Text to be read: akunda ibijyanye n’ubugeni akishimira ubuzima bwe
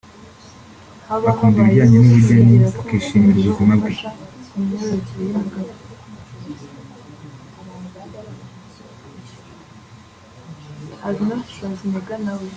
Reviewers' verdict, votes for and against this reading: rejected, 1, 2